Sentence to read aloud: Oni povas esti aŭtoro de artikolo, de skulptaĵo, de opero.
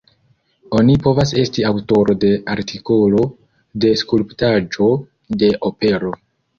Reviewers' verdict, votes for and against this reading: accepted, 2, 0